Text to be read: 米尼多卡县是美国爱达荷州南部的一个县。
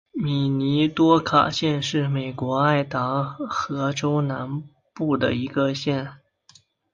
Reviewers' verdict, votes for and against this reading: accepted, 2, 0